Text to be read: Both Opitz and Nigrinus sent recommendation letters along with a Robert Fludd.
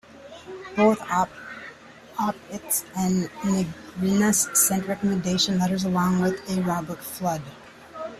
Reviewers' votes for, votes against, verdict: 0, 2, rejected